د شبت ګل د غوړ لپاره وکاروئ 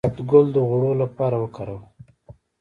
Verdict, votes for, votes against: rejected, 0, 2